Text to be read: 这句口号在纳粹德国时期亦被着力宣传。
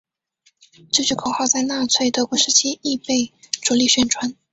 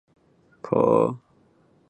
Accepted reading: first